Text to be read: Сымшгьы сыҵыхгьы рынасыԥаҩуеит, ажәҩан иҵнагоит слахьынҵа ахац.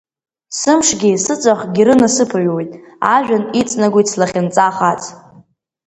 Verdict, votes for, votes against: rejected, 1, 2